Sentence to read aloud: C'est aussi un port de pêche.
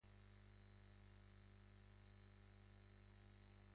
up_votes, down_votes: 1, 2